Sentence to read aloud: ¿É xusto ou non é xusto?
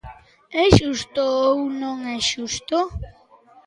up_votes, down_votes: 2, 0